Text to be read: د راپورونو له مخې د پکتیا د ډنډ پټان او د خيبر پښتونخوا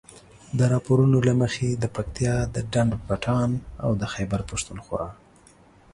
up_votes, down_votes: 2, 0